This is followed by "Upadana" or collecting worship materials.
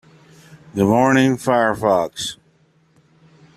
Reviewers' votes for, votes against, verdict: 0, 2, rejected